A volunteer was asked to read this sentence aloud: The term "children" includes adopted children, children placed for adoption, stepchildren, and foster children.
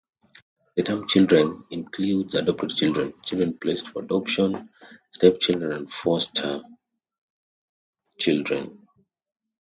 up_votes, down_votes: 0, 2